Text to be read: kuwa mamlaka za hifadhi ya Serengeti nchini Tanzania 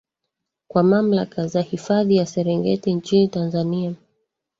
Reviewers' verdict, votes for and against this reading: rejected, 1, 2